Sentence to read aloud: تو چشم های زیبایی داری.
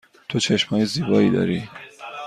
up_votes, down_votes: 2, 0